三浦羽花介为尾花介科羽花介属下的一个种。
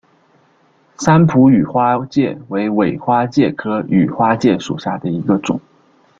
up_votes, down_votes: 2, 0